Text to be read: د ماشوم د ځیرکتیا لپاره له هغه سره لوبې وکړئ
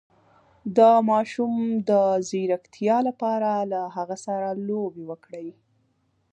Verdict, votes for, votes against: accepted, 2, 0